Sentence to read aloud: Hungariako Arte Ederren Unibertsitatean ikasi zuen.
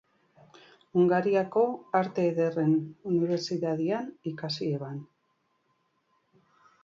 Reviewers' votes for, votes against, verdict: 0, 2, rejected